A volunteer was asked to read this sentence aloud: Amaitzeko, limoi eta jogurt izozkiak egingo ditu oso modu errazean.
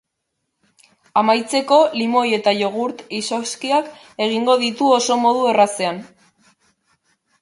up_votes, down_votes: 2, 0